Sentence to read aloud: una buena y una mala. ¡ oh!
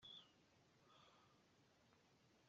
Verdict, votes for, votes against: rejected, 0, 2